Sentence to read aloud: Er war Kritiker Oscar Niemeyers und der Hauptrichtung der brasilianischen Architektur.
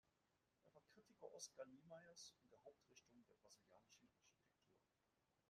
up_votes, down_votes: 0, 2